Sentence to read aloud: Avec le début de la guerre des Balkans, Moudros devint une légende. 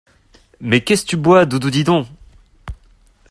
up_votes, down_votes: 0, 2